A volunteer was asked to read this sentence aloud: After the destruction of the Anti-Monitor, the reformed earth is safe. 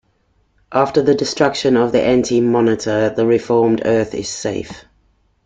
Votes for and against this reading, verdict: 2, 0, accepted